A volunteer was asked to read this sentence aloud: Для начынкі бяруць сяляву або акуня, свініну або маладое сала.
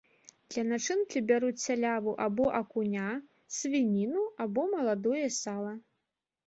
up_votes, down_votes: 2, 0